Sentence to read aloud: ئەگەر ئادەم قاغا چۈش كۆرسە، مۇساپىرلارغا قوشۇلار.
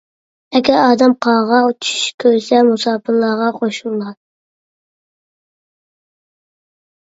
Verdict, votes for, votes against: rejected, 1, 2